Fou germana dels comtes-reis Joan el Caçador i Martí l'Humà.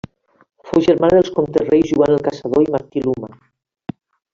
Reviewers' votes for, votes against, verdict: 1, 2, rejected